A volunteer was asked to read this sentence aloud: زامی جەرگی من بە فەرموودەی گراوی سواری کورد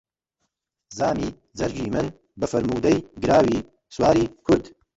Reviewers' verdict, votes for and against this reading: rejected, 1, 2